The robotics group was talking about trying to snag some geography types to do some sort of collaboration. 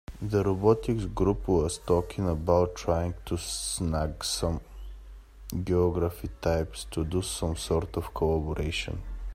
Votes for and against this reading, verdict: 2, 1, accepted